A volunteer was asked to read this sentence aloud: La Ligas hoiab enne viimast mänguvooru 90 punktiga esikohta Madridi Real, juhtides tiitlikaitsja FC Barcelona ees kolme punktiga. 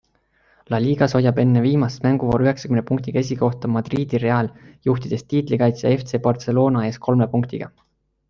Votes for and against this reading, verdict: 0, 2, rejected